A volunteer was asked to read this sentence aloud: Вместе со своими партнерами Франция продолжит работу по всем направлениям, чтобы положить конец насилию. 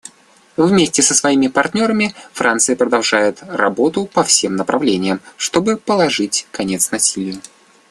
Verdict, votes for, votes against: rejected, 0, 2